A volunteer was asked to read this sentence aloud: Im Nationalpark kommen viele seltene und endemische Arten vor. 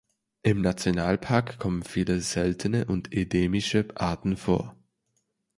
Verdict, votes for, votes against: rejected, 1, 2